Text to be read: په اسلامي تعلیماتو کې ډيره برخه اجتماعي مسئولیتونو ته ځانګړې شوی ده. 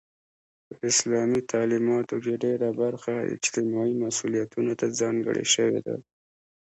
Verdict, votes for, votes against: accepted, 2, 0